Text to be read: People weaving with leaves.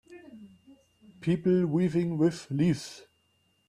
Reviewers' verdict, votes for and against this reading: rejected, 0, 2